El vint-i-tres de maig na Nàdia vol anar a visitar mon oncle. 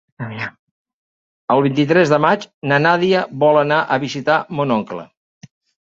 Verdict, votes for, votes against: accepted, 3, 1